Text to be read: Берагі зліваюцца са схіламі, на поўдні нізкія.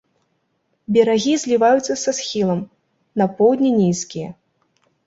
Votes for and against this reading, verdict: 0, 2, rejected